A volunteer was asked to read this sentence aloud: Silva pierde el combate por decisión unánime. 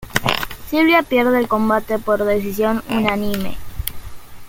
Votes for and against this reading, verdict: 0, 2, rejected